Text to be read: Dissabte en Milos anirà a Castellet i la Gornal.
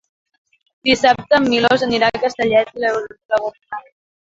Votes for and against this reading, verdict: 0, 2, rejected